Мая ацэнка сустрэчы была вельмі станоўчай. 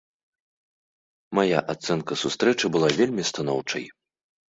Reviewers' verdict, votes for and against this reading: accepted, 2, 0